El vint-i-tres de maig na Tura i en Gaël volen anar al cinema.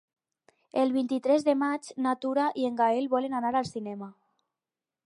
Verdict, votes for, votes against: accepted, 4, 0